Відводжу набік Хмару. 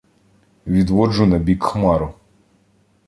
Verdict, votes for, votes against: accepted, 2, 0